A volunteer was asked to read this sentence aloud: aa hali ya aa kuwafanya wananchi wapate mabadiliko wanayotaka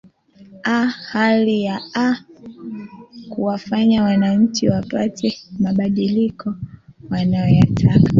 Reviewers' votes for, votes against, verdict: 2, 1, accepted